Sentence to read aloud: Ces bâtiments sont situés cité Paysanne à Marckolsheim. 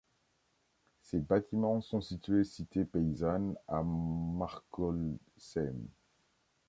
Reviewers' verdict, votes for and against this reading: rejected, 1, 2